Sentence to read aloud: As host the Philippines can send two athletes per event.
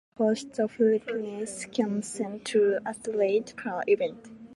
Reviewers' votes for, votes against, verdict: 0, 2, rejected